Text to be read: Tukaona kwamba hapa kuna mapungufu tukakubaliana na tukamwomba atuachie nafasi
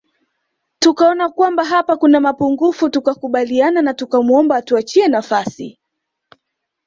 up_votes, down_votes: 2, 1